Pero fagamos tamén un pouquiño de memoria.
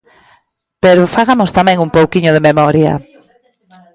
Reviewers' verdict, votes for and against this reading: rejected, 0, 2